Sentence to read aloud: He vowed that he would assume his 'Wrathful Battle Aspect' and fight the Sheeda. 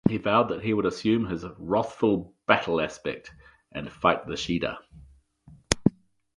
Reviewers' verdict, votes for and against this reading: rejected, 2, 2